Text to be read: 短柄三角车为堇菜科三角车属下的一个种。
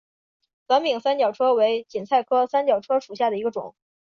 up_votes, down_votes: 3, 0